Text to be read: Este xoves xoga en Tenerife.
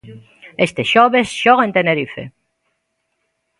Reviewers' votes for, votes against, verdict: 2, 0, accepted